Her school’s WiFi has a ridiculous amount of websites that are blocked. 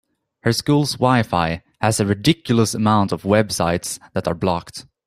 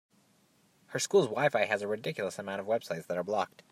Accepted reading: second